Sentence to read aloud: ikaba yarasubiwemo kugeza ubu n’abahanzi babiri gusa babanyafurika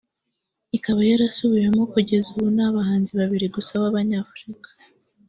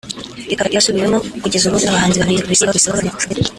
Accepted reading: first